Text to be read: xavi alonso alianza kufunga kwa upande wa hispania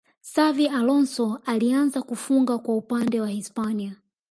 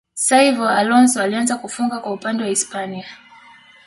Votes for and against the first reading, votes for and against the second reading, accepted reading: 2, 0, 0, 2, first